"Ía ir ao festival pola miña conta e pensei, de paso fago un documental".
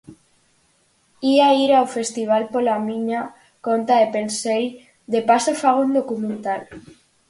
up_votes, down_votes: 4, 0